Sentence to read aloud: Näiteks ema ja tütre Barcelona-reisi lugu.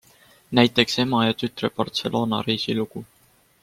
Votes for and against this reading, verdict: 4, 0, accepted